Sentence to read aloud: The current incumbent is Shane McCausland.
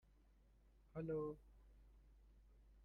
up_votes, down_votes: 0, 2